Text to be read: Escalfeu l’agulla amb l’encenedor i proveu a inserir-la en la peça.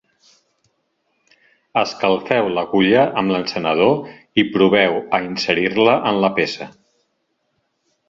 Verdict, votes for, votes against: accepted, 4, 0